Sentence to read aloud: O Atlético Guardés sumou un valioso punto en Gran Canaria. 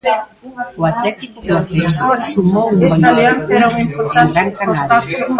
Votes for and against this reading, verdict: 0, 2, rejected